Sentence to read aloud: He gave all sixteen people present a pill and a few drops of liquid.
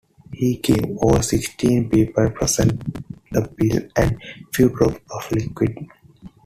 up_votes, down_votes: 1, 2